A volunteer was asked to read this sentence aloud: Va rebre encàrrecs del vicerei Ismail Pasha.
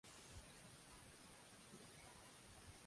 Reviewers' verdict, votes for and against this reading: rejected, 0, 2